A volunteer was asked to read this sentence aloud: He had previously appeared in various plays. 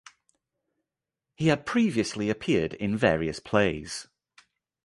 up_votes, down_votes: 3, 0